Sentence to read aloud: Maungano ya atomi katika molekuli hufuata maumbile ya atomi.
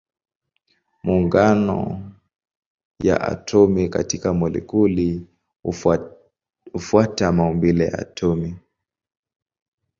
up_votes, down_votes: 0, 2